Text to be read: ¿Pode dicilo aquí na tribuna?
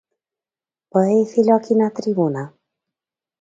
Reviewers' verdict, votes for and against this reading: accepted, 2, 0